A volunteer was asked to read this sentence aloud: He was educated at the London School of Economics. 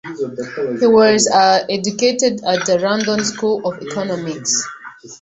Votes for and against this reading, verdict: 1, 2, rejected